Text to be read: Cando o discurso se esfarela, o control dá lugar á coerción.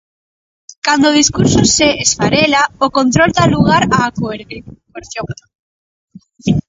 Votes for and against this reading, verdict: 0, 2, rejected